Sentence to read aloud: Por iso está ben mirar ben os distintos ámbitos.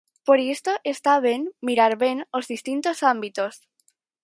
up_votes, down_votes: 0, 4